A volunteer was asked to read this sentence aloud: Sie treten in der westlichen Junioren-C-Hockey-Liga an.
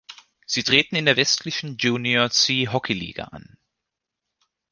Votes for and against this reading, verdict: 1, 2, rejected